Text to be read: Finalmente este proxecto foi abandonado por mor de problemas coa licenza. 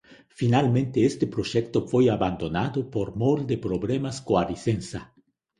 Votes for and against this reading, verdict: 2, 0, accepted